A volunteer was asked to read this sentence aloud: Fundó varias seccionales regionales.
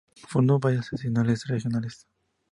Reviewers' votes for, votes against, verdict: 2, 0, accepted